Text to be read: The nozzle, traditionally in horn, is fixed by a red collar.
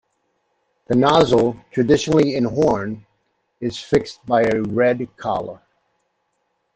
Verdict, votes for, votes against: accepted, 2, 0